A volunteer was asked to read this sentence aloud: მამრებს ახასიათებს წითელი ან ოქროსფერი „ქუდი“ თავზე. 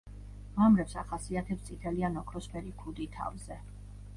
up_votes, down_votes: 1, 2